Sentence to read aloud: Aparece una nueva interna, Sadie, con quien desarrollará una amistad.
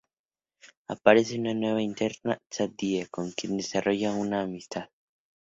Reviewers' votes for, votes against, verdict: 0, 2, rejected